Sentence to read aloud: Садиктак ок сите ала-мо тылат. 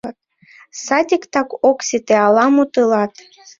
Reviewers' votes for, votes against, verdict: 2, 0, accepted